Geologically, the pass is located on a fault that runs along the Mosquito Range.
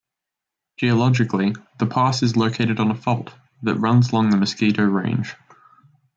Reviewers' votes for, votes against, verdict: 2, 0, accepted